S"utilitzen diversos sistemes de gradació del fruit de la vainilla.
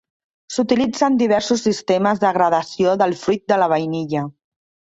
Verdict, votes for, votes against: accepted, 3, 0